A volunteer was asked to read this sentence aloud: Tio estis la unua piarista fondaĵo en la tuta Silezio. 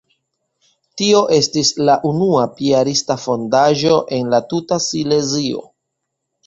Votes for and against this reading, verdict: 2, 0, accepted